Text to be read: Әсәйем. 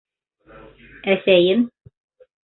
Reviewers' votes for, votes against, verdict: 2, 0, accepted